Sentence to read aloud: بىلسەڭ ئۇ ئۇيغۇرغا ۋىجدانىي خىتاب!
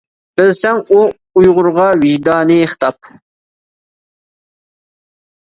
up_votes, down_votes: 2, 0